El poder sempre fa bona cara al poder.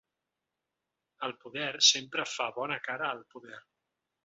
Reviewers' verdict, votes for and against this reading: accepted, 3, 0